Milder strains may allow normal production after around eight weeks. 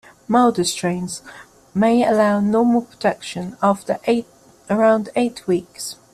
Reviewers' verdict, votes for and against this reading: rejected, 0, 2